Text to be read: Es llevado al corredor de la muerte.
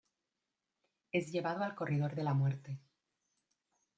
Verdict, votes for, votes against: accepted, 2, 0